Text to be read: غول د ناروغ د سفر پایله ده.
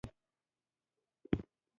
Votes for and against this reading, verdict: 1, 2, rejected